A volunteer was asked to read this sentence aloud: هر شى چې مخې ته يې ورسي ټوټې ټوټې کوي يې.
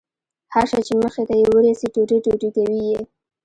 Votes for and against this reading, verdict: 1, 2, rejected